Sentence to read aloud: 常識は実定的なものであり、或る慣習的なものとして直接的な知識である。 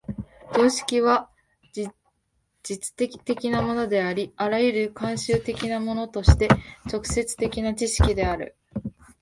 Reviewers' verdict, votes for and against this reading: rejected, 1, 2